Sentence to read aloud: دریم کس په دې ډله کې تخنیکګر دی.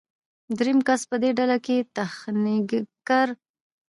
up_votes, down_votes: 2, 0